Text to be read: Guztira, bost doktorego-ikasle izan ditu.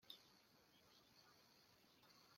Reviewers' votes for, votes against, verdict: 0, 2, rejected